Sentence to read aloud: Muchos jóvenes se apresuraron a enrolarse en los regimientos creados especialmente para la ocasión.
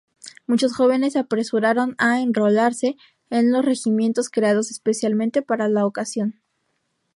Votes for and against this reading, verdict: 2, 0, accepted